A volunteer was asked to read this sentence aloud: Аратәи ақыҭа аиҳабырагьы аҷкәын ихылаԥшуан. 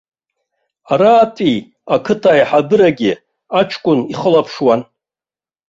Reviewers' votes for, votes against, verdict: 2, 0, accepted